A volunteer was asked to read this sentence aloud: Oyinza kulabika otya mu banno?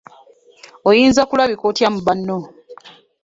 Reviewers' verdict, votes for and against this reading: rejected, 1, 2